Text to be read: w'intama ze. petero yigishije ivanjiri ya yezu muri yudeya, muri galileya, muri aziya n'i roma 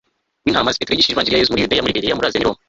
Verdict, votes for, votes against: accepted, 2, 0